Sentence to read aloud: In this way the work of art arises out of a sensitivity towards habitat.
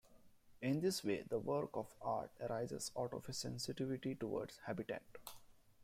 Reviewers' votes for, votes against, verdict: 2, 0, accepted